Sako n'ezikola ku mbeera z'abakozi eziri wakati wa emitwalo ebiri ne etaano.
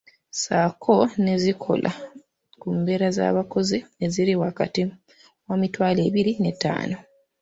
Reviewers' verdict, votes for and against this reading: accepted, 2, 1